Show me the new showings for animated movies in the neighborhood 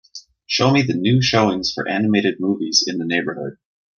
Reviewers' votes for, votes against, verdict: 2, 0, accepted